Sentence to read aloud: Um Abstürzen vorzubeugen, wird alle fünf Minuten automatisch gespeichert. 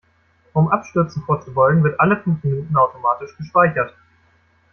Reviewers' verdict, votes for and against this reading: rejected, 0, 2